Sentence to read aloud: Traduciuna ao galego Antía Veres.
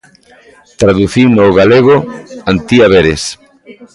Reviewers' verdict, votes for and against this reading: rejected, 1, 2